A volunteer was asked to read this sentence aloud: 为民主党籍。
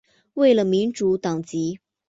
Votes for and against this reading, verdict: 1, 3, rejected